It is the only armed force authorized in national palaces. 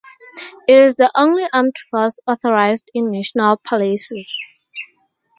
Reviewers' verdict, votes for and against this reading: rejected, 2, 2